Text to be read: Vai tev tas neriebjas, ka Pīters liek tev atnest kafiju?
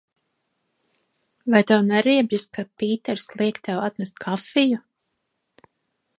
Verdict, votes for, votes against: rejected, 1, 2